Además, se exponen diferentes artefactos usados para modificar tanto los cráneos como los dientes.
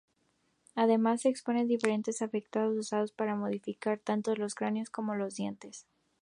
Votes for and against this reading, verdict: 2, 0, accepted